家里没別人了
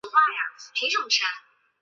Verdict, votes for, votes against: rejected, 0, 2